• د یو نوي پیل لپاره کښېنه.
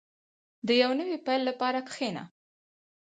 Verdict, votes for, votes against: accepted, 4, 0